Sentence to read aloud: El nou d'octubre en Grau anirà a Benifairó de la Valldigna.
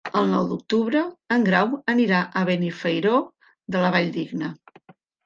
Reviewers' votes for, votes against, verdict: 3, 1, accepted